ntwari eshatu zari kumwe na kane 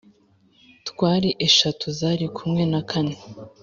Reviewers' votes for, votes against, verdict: 1, 2, rejected